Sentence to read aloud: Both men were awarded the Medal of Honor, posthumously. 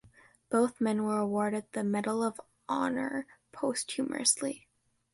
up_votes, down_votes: 2, 0